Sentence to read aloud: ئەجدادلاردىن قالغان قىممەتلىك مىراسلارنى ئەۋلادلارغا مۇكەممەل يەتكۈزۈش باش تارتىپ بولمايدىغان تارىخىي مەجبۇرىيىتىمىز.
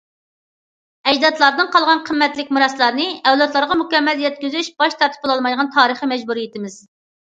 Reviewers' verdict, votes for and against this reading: rejected, 0, 2